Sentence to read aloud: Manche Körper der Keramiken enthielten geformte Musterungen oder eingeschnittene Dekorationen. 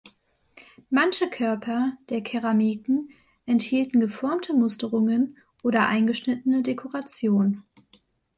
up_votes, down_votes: 1, 2